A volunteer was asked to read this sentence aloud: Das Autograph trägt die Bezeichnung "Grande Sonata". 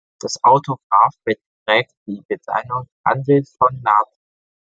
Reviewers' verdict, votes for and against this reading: rejected, 0, 2